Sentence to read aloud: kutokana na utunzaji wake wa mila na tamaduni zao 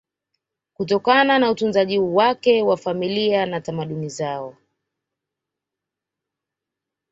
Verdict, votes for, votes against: rejected, 1, 2